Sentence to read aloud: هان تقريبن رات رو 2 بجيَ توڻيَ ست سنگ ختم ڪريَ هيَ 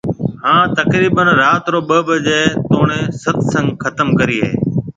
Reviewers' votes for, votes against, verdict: 0, 2, rejected